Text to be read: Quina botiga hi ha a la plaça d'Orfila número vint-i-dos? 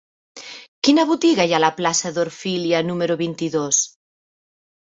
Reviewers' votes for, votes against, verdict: 0, 2, rejected